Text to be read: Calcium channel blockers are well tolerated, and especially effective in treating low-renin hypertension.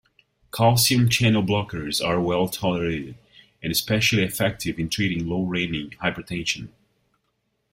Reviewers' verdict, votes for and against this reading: rejected, 0, 2